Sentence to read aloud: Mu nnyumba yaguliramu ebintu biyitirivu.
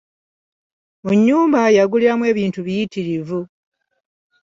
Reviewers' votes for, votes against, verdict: 2, 0, accepted